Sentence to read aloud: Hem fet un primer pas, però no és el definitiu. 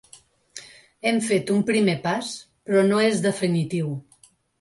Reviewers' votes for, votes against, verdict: 0, 2, rejected